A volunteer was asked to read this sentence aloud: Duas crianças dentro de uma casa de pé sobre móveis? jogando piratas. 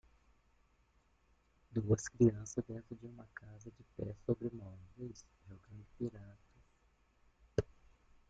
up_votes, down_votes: 0, 2